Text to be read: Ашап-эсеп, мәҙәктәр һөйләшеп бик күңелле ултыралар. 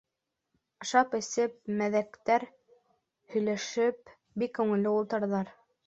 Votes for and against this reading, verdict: 2, 1, accepted